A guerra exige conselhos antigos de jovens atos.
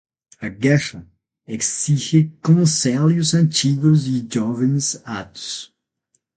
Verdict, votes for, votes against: rejected, 0, 6